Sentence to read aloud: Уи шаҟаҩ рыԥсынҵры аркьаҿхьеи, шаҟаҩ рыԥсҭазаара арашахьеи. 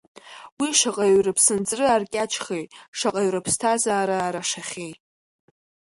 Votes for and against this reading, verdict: 2, 0, accepted